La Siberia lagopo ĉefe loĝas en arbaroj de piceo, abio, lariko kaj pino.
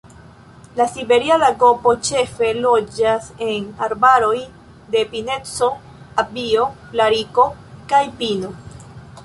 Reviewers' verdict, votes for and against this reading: rejected, 0, 2